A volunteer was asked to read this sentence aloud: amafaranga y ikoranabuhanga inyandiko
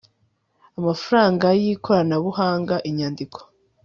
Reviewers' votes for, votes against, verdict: 2, 0, accepted